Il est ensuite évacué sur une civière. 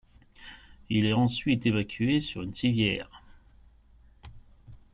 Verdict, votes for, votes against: accepted, 2, 0